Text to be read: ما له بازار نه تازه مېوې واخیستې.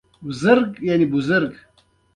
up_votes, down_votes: 0, 2